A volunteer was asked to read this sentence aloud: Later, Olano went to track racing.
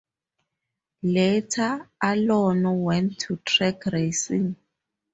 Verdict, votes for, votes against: rejected, 2, 2